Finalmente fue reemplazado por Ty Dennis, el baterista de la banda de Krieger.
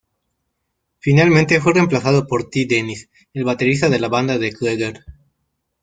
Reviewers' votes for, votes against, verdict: 0, 2, rejected